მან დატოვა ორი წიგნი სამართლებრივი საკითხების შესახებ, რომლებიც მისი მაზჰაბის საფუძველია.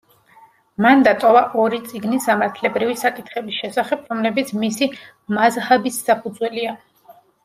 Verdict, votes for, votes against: accepted, 2, 0